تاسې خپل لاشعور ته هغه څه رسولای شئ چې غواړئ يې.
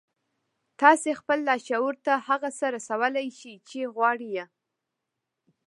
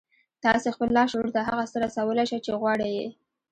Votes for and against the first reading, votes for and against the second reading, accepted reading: 1, 2, 2, 0, second